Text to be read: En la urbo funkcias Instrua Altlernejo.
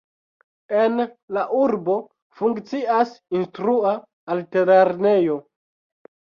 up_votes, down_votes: 1, 2